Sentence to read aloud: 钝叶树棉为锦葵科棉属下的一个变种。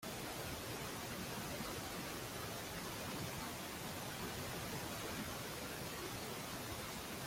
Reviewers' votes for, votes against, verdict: 0, 2, rejected